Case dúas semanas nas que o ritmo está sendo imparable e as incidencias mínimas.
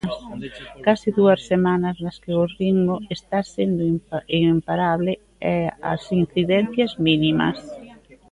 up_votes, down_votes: 0, 2